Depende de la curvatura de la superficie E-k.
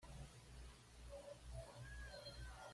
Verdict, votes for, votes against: rejected, 1, 2